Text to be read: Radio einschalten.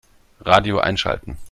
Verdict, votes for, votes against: accepted, 2, 0